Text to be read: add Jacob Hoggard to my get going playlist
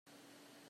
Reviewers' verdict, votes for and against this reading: rejected, 0, 2